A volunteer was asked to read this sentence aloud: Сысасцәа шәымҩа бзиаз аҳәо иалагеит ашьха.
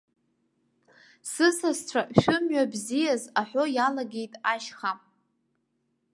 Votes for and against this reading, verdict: 2, 0, accepted